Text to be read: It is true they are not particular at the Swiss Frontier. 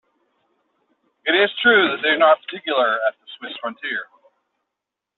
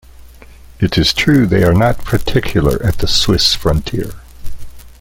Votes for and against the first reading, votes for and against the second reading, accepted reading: 1, 2, 3, 0, second